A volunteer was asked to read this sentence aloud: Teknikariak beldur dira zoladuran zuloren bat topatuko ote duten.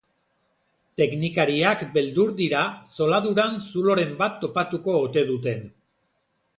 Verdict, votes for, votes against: accepted, 3, 0